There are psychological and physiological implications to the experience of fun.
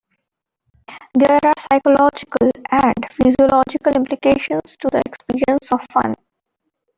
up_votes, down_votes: 2, 1